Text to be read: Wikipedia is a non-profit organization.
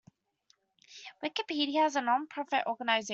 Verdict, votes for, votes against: rejected, 0, 2